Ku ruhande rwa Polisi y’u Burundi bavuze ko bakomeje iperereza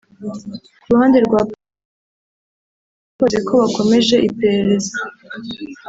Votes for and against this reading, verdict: 0, 3, rejected